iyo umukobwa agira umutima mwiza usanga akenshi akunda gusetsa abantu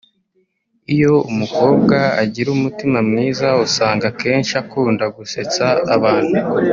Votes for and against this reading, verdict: 1, 2, rejected